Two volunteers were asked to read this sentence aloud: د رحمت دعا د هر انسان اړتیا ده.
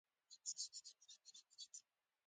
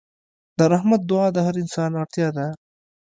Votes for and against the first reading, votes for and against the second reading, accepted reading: 1, 2, 2, 0, second